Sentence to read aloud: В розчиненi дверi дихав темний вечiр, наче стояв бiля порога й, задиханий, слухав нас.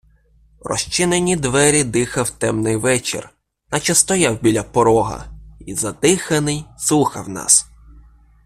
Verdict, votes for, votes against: accepted, 2, 0